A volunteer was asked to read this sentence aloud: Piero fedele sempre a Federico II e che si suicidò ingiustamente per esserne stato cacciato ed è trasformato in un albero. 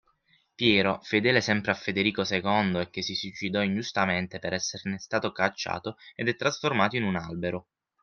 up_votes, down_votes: 6, 0